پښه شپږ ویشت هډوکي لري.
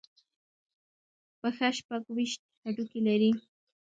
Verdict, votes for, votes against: accepted, 2, 0